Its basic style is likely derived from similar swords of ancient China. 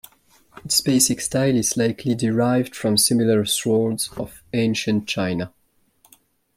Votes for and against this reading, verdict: 2, 0, accepted